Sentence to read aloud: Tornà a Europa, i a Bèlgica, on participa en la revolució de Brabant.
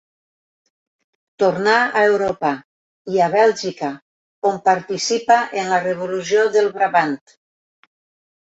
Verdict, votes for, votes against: rejected, 2, 3